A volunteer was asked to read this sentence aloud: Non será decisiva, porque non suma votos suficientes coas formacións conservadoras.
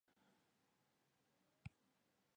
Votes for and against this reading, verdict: 0, 2, rejected